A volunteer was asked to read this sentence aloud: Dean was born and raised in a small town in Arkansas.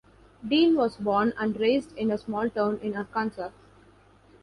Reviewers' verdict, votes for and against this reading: rejected, 0, 2